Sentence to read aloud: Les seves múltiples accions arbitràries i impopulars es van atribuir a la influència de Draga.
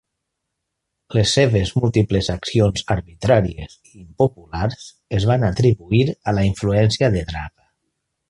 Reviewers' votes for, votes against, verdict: 2, 1, accepted